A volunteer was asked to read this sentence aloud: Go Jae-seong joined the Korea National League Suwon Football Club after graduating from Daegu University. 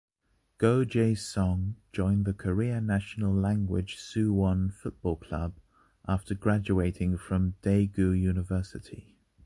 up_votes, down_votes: 1, 2